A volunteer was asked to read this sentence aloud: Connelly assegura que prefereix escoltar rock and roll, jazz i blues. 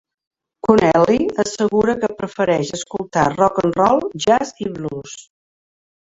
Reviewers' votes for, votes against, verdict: 2, 1, accepted